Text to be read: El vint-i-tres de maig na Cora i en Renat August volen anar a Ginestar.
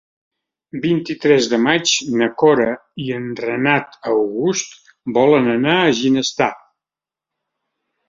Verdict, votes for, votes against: rejected, 1, 3